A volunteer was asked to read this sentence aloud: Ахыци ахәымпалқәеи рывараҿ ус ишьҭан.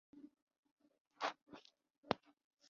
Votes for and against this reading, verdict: 0, 2, rejected